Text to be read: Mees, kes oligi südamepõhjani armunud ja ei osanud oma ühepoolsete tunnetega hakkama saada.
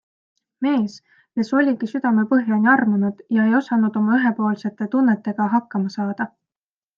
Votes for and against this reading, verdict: 2, 0, accepted